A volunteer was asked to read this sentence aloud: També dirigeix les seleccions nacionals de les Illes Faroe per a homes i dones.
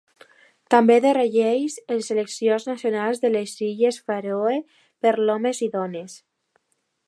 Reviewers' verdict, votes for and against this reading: rejected, 1, 2